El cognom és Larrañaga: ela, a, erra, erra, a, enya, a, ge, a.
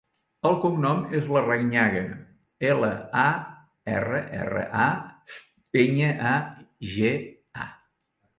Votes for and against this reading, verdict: 2, 0, accepted